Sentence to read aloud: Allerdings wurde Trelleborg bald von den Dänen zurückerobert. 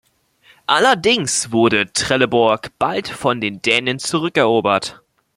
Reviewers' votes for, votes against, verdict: 2, 0, accepted